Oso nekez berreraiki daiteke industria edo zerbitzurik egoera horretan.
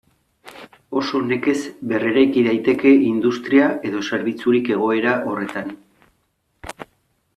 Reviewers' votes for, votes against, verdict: 2, 0, accepted